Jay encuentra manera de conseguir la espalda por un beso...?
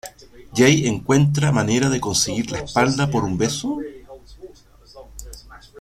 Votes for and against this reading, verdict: 1, 2, rejected